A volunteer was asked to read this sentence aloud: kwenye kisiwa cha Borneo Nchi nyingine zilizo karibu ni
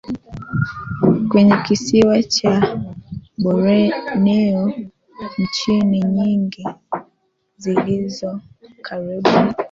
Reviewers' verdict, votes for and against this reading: rejected, 0, 3